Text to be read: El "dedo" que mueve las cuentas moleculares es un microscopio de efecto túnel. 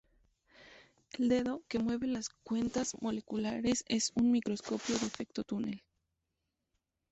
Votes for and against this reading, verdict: 0, 2, rejected